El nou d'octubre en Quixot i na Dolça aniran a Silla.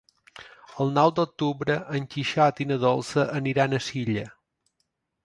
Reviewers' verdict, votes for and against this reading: accepted, 2, 0